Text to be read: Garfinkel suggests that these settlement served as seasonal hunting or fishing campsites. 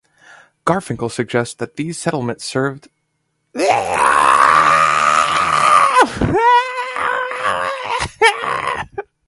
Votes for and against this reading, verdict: 0, 2, rejected